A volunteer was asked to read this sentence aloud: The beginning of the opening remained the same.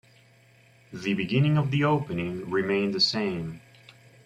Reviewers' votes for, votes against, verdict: 1, 2, rejected